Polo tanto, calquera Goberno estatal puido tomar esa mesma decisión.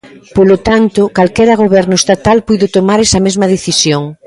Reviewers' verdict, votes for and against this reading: rejected, 0, 2